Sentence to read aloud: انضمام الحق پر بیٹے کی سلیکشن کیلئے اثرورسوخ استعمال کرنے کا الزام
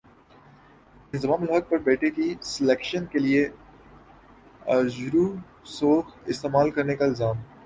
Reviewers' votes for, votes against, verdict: 5, 6, rejected